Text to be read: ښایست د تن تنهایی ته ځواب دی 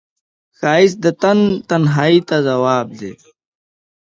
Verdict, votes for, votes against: accepted, 2, 0